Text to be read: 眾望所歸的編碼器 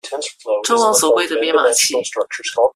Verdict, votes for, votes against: rejected, 1, 2